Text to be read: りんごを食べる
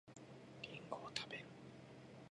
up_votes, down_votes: 0, 2